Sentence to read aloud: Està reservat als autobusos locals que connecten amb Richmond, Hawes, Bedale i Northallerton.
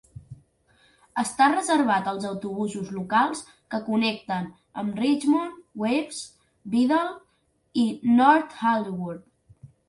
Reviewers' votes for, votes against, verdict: 2, 0, accepted